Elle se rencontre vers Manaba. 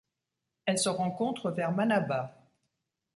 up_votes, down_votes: 2, 0